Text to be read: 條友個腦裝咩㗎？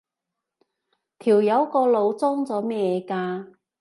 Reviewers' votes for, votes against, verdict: 1, 2, rejected